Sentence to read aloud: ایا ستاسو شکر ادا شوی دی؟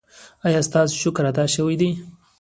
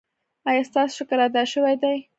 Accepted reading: second